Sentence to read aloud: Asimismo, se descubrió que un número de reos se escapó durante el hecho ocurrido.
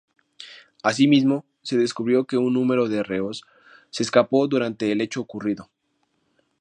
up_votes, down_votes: 4, 0